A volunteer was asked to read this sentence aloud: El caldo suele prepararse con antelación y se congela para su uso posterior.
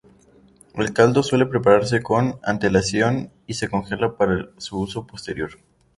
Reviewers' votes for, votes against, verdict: 0, 2, rejected